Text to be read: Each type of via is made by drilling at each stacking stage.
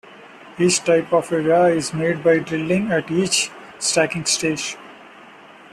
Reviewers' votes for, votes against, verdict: 2, 0, accepted